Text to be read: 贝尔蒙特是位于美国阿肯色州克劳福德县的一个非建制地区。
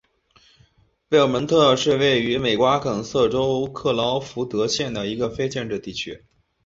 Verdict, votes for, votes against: accepted, 6, 1